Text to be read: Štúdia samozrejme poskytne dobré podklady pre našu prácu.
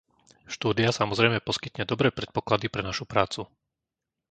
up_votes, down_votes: 0, 2